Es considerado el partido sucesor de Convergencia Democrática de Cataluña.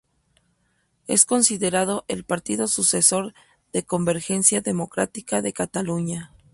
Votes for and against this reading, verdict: 4, 0, accepted